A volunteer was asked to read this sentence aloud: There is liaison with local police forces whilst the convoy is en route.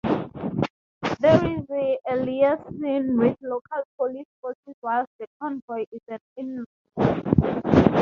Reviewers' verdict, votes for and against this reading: accepted, 2, 0